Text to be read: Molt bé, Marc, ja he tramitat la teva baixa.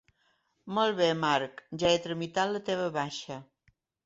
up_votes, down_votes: 3, 0